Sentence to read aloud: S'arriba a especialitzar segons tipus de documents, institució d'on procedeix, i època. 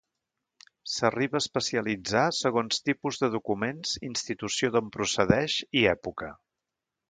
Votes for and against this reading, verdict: 2, 0, accepted